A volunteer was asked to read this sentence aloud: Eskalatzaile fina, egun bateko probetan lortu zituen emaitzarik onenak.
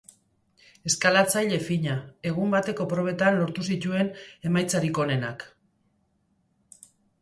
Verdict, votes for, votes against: accepted, 3, 0